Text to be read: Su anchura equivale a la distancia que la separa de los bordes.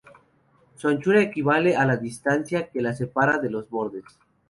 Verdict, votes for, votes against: rejected, 0, 2